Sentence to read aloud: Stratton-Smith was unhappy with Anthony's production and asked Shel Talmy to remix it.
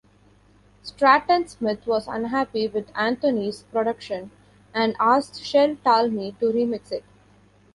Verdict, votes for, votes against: accepted, 2, 1